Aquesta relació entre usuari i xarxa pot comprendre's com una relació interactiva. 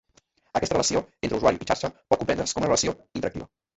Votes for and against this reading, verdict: 1, 2, rejected